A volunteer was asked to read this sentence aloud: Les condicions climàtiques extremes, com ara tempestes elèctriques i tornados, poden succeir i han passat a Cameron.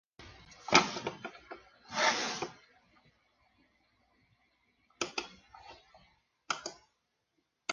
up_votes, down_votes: 0, 2